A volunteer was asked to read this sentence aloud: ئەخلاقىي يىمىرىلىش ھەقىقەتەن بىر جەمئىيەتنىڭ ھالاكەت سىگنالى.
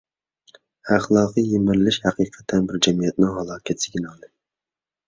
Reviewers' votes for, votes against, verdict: 2, 0, accepted